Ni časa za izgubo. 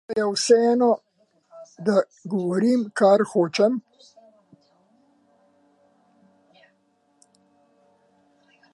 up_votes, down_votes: 0, 2